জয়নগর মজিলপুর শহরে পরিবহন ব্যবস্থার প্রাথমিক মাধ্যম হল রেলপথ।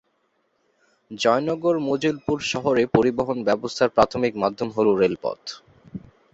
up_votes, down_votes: 2, 0